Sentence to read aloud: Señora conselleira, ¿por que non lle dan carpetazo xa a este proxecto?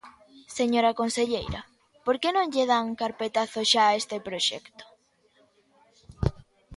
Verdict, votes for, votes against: accepted, 2, 0